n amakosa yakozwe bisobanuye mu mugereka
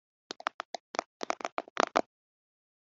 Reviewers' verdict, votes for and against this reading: rejected, 0, 3